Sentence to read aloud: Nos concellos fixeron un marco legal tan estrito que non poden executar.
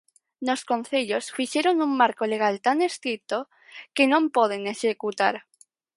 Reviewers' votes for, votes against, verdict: 4, 2, accepted